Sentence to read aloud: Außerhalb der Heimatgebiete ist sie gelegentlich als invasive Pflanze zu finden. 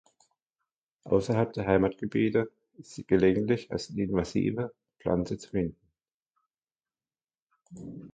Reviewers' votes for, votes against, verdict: 2, 1, accepted